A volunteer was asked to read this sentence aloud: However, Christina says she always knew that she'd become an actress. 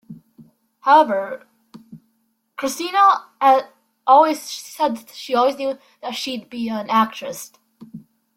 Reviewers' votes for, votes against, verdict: 0, 2, rejected